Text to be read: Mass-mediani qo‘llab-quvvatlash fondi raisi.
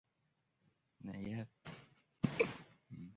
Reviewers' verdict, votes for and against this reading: rejected, 0, 2